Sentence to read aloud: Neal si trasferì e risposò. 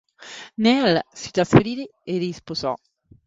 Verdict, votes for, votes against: rejected, 1, 2